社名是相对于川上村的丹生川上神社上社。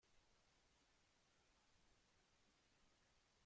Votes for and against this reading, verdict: 0, 2, rejected